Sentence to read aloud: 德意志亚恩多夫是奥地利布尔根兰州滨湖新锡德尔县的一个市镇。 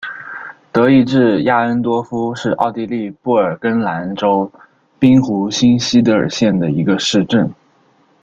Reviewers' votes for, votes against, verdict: 0, 2, rejected